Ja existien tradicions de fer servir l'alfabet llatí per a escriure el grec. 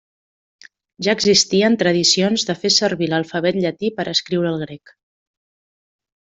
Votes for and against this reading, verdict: 2, 0, accepted